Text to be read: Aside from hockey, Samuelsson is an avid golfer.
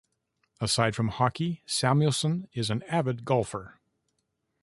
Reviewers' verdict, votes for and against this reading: rejected, 0, 2